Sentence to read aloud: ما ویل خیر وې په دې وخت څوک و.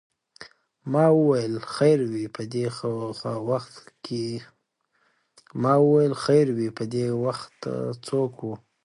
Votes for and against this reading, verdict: 1, 2, rejected